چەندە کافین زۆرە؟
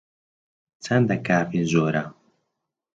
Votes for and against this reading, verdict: 0, 2, rejected